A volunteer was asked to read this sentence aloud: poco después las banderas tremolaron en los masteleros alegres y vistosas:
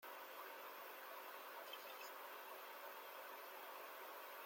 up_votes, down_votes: 0, 2